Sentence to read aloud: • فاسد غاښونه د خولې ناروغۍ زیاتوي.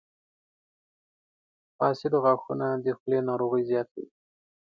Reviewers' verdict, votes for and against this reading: accepted, 2, 0